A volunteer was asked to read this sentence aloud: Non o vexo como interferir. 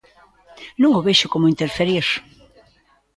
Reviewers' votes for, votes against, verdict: 0, 2, rejected